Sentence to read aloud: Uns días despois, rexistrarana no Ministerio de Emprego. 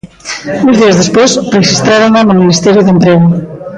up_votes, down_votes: 1, 2